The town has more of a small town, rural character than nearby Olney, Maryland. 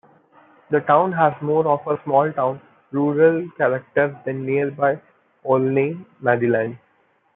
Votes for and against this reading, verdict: 2, 0, accepted